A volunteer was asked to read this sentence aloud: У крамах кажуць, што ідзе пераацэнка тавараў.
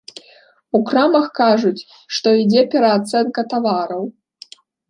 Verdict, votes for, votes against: accepted, 2, 0